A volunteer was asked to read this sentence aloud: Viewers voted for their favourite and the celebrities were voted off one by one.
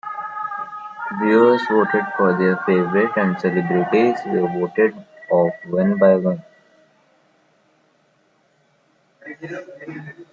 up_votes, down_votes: 0, 2